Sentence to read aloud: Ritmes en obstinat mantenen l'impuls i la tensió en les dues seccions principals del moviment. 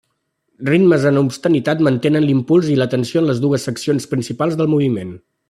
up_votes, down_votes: 1, 2